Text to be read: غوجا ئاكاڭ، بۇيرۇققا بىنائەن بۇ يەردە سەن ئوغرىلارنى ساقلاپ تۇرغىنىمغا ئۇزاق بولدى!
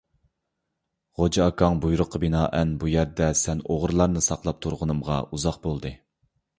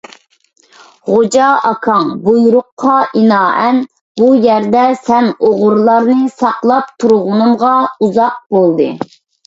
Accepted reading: first